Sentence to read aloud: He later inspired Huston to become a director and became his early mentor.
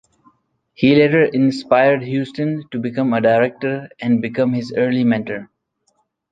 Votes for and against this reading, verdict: 2, 1, accepted